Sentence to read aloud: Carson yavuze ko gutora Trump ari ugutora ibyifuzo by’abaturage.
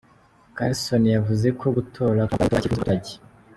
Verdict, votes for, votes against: rejected, 0, 2